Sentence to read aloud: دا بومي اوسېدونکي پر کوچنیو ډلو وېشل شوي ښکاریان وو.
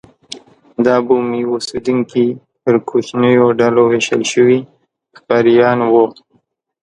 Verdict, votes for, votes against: accepted, 2, 1